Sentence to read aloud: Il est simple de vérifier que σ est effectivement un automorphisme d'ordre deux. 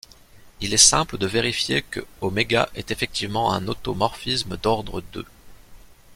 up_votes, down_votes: 0, 2